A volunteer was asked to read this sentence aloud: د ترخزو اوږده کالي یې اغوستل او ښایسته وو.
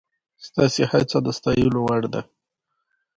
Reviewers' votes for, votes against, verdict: 2, 1, accepted